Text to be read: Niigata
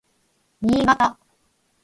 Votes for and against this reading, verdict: 0, 4, rejected